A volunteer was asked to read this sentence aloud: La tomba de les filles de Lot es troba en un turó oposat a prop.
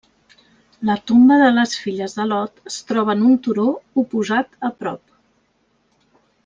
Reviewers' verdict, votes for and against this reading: rejected, 1, 2